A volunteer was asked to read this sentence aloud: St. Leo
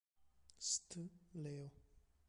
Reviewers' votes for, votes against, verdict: 1, 2, rejected